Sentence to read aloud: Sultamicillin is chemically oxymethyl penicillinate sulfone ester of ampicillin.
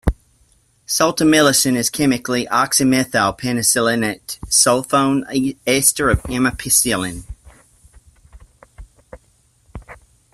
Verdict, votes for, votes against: rejected, 0, 2